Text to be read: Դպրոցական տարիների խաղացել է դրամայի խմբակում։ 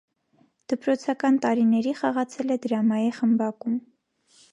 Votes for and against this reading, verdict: 2, 0, accepted